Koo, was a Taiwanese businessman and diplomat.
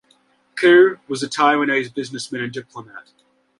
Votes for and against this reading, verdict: 1, 2, rejected